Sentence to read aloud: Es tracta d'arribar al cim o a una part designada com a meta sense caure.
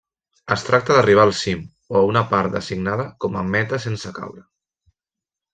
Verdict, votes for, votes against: rejected, 1, 2